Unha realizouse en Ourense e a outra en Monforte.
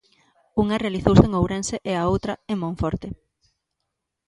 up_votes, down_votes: 2, 0